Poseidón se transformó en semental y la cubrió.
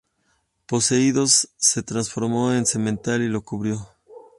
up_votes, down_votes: 0, 2